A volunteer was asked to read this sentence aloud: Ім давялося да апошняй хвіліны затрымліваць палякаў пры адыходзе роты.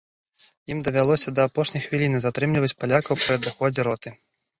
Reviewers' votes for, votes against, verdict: 0, 2, rejected